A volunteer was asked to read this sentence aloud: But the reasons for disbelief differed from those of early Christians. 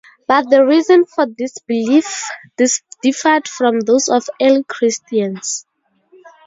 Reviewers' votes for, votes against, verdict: 0, 2, rejected